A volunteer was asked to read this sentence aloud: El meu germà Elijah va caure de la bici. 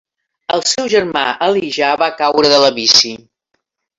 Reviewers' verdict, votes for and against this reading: rejected, 0, 2